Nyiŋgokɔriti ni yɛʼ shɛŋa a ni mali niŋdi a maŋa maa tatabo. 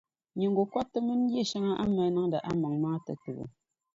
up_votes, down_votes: 1, 2